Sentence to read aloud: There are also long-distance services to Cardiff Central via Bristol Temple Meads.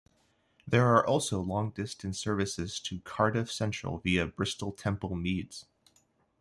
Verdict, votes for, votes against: accepted, 2, 0